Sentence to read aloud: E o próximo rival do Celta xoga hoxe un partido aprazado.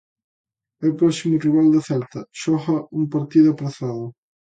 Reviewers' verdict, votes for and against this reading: rejected, 0, 2